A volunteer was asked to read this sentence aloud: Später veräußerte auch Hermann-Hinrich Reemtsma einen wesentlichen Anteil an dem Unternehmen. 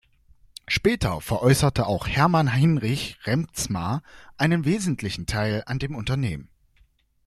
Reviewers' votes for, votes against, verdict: 0, 2, rejected